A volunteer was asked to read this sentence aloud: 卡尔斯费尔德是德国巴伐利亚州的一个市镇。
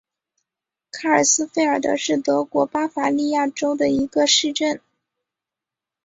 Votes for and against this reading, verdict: 2, 0, accepted